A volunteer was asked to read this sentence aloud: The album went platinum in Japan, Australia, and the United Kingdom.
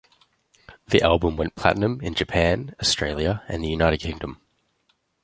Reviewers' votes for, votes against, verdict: 2, 1, accepted